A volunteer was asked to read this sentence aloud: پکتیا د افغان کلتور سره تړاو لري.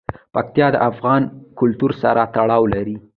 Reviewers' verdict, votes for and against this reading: accepted, 2, 1